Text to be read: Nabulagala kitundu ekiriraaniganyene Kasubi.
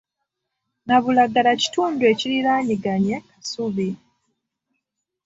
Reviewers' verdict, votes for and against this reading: rejected, 1, 2